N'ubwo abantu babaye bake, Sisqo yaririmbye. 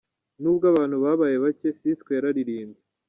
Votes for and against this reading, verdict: 0, 2, rejected